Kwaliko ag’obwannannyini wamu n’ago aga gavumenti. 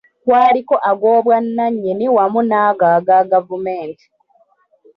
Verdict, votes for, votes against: accepted, 2, 1